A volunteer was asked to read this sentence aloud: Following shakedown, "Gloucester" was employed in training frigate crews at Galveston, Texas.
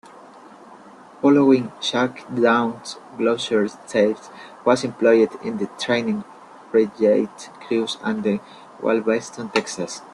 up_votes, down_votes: 0, 2